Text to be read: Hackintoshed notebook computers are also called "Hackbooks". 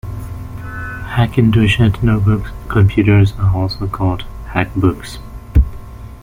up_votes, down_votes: 1, 2